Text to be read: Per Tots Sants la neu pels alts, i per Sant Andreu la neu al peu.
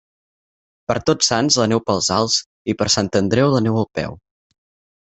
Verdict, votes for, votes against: accepted, 6, 0